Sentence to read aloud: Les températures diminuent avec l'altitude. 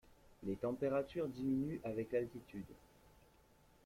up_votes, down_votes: 2, 0